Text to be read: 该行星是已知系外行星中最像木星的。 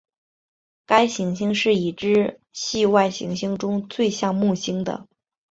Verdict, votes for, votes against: accepted, 6, 1